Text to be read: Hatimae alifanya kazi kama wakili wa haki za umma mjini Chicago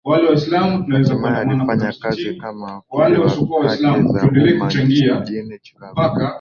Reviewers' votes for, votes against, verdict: 1, 2, rejected